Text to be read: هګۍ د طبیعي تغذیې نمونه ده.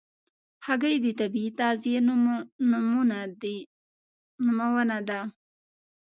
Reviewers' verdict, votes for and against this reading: rejected, 1, 2